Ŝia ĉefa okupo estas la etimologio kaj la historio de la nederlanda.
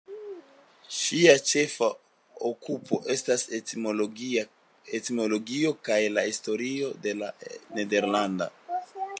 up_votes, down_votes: 2, 1